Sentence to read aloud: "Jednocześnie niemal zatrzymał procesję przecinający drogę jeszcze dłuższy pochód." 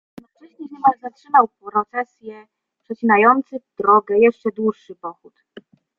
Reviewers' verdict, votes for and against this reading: rejected, 1, 2